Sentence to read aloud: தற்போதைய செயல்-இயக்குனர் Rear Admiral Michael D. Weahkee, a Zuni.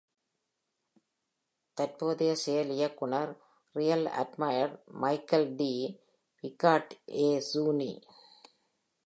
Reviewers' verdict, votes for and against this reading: accepted, 2, 0